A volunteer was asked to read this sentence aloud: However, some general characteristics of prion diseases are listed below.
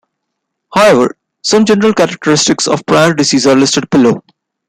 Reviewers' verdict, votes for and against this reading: accepted, 2, 1